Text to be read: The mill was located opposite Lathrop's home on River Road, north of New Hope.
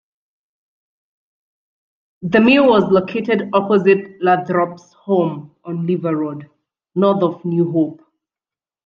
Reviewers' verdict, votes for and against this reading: accepted, 2, 0